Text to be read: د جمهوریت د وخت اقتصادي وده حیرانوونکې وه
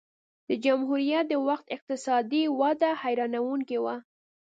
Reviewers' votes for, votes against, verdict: 2, 0, accepted